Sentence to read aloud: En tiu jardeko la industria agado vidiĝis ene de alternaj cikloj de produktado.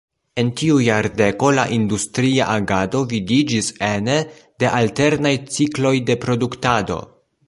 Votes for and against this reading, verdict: 1, 2, rejected